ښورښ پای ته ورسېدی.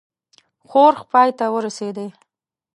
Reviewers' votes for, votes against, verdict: 1, 2, rejected